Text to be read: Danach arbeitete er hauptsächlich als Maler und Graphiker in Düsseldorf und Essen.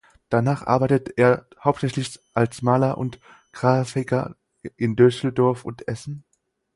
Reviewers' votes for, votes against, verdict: 2, 4, rejected